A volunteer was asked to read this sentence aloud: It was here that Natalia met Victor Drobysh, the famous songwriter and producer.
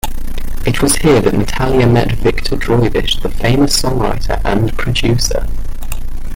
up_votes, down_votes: 1, 2